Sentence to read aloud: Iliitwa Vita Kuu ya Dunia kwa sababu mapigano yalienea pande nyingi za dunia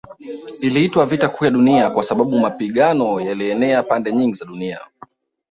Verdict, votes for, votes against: rejected, 1, 2